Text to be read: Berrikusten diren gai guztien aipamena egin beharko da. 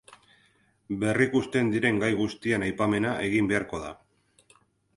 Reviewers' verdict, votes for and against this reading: accepted, 4, 0